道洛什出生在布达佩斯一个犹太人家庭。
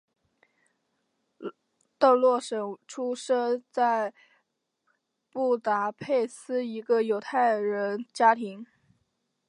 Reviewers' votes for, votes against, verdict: 2, 1, accepted